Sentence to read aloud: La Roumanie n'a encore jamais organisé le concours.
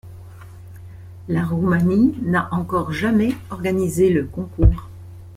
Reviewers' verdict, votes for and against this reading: accepted, 2, 0